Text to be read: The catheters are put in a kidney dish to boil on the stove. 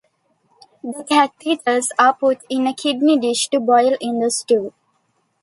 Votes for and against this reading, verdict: 1, 2, rejected